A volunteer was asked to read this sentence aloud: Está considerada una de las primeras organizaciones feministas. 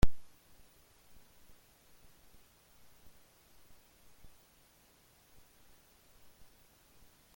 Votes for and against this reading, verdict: 0, 3, rejected